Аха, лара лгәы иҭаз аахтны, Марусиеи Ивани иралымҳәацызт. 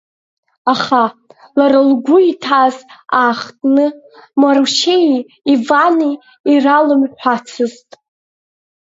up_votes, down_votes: 0, 2